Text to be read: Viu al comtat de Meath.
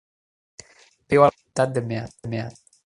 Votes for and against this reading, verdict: 1, 2, rejected